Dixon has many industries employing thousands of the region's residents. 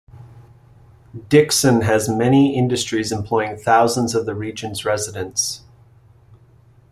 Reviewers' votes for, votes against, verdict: 2, 0, accepted